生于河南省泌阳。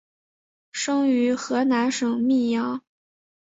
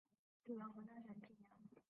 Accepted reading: first